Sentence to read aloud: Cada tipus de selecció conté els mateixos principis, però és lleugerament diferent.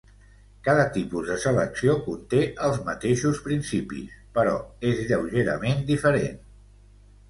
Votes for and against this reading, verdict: 2, 0, accepted